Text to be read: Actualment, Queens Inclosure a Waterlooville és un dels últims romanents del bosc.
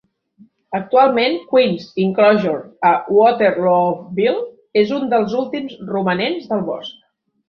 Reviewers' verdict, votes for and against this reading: accepted, 2, 0